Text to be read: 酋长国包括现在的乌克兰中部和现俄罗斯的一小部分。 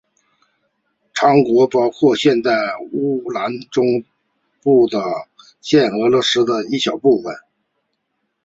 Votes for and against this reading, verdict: 0, 2, rejected